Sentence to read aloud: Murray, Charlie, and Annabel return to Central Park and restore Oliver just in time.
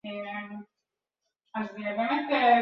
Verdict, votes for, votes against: rejected, 1, 2